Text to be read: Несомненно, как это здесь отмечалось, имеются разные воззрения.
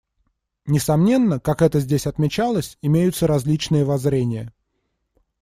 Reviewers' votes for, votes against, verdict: 0, 2, rejected